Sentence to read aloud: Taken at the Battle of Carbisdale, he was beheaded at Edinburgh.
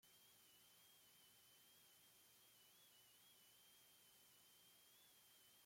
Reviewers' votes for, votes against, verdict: 0, 2, rejected